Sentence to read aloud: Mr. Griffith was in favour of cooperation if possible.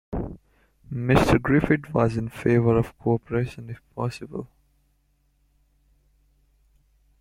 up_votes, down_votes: 2, 0